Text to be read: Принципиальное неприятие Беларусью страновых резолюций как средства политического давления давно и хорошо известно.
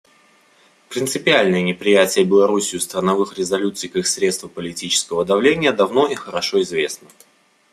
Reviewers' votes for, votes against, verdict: 2, 0, accepted